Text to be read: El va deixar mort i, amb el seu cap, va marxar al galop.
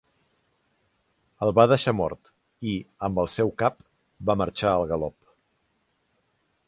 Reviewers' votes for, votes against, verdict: 3, 0, accepted